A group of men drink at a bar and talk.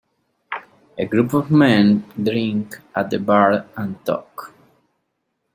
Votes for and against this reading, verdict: 2, 0, accepted